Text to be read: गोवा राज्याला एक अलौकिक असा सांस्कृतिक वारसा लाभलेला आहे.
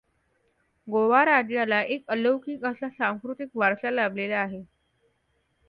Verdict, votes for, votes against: accepted, 2, 0